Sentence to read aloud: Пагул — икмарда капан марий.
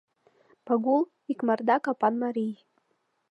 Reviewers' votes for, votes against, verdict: 2, 0, accepted